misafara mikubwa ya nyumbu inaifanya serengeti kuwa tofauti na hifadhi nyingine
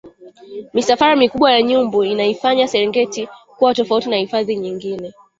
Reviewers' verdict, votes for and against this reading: rejected, 1, 2